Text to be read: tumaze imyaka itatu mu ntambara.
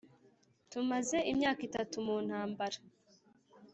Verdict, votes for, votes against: accepted, 3, 0